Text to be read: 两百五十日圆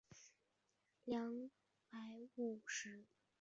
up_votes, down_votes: 0, 3